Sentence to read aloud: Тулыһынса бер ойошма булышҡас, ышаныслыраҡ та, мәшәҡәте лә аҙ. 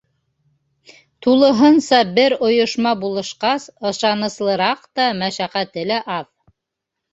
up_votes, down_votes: 3, 0